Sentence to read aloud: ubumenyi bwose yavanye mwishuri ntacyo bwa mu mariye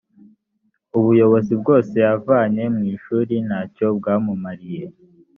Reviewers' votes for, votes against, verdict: 1, 3, rejected